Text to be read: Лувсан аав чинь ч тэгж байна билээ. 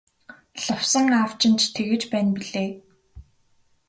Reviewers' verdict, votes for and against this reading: accepted, 2, 0